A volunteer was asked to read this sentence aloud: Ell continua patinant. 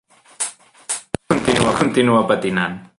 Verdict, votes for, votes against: rejected, 0, 2